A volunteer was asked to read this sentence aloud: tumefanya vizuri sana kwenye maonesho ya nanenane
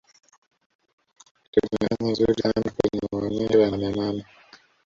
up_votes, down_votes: 0, 2